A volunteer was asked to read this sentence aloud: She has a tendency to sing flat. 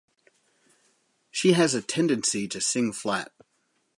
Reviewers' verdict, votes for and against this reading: accepted, 4, 0